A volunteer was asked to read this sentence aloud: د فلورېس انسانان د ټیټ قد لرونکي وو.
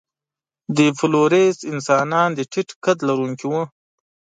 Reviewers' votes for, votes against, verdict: 2, 0, accepted